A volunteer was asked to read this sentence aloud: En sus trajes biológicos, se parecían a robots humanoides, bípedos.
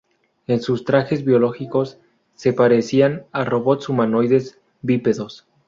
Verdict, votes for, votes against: accepted, 2, 0